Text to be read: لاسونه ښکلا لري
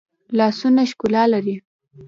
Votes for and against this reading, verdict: 3, 1, accepted